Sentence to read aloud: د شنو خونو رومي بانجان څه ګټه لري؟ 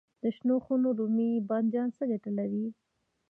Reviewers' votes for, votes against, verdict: 1, 2, rejected